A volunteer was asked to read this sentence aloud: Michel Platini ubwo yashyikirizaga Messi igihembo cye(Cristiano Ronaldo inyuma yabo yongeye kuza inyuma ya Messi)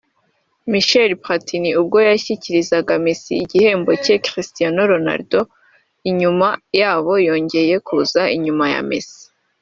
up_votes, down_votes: 2, 0